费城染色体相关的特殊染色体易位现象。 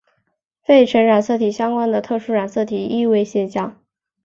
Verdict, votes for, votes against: accepted, 2, 1